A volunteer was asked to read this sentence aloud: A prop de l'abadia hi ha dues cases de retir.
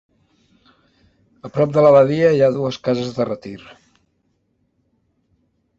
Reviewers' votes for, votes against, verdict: 2, 0, accepted